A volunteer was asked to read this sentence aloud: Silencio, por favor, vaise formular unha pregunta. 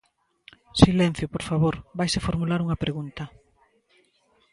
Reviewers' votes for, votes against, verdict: 2, 0, accepted